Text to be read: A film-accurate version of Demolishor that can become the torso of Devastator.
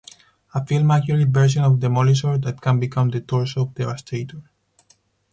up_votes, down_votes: 4, 0